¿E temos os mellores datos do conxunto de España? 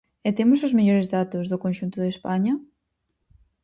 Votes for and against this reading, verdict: 4, 0, accepted